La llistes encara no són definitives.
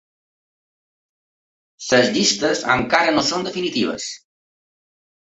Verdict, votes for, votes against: rejected, 1, 2